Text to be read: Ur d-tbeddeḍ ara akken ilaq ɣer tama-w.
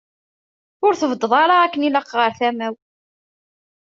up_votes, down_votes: 2, 1